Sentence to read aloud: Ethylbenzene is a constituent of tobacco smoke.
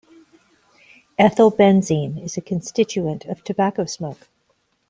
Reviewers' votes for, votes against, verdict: 2, 0, accepted